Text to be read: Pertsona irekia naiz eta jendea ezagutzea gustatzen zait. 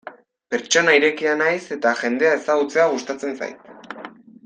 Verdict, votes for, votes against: accepted, 2, 0